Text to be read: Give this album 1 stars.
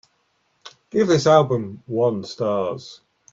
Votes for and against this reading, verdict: 0, 2, rejected